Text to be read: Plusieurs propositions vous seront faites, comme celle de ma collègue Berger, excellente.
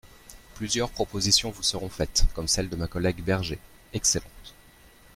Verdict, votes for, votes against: accepted, 2, 0